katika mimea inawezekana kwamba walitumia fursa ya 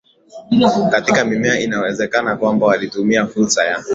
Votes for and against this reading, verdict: 3, 0, accepted